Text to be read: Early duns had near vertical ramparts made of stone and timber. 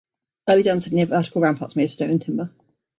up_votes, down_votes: 1, 3